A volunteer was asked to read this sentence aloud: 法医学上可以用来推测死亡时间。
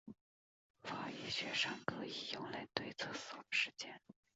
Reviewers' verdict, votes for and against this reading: accepted, 2, 0